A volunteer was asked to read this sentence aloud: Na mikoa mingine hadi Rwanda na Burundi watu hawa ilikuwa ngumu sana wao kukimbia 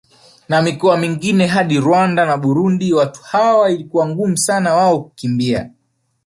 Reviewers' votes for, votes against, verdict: 0, 2, rejected